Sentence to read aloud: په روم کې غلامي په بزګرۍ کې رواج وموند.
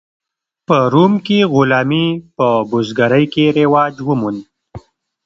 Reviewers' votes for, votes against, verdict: 2, 0, accepted